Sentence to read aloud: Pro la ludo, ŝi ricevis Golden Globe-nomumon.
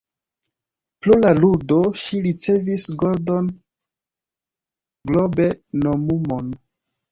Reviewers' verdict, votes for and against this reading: accepted, 2, 0